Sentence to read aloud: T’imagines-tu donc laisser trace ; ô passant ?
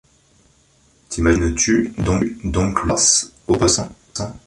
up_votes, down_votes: 0, 2